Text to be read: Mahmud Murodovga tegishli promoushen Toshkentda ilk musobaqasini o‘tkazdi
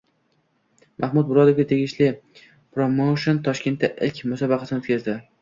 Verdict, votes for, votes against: accepted, 2, 0